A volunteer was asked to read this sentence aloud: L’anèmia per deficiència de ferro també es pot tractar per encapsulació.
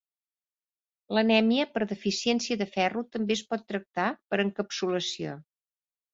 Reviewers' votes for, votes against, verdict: 2, 0, accepted